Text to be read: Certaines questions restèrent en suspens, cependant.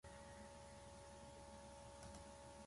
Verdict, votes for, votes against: rejected, 1, 2